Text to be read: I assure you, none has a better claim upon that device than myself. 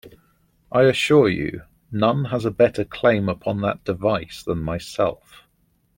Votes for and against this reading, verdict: 2, 0, accepted